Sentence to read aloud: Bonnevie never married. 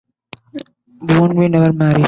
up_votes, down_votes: 0, 2